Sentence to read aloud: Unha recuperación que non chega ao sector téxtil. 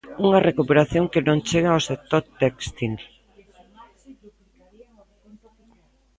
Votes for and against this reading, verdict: 2, 1, accepted